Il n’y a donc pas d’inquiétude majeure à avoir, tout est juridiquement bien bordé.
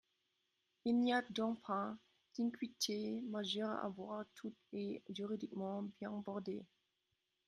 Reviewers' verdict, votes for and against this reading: rejected, 0, 2